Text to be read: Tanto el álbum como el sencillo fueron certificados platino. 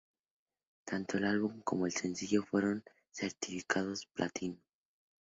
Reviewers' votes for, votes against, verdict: 2, 0, accepted